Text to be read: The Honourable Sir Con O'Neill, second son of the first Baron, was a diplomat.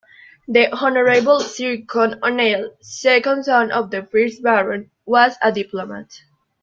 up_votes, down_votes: 2, 0